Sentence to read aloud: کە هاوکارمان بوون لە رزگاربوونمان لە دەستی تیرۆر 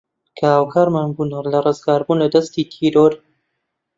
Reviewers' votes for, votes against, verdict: 0, 2, rejected